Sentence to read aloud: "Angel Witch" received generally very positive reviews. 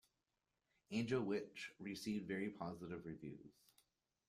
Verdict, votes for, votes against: accepted, 2, 1